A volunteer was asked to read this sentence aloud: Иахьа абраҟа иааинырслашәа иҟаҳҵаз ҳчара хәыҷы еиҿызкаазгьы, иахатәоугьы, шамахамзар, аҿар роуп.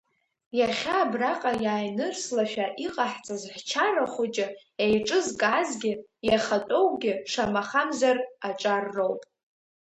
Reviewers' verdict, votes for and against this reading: rejected, 1, 2